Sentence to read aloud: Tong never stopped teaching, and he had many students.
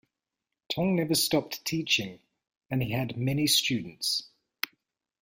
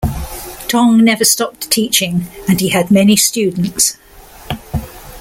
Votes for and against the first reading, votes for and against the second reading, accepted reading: 2, 0, 1, 2, first